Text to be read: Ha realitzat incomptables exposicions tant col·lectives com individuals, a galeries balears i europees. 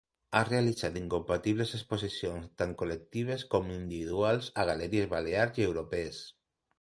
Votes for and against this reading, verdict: 1, 2, rejected